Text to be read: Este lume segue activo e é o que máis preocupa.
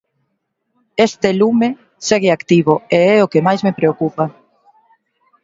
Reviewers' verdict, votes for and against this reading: rejected, 1, 2